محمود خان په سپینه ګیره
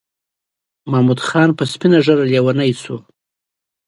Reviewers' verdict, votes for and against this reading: rejected, 1, 2